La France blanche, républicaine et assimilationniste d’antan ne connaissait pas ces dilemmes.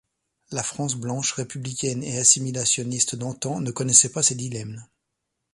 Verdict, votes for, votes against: accepted, 2, 0